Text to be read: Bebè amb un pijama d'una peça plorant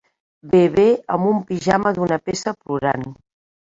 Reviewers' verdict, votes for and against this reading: rejected, 0, 2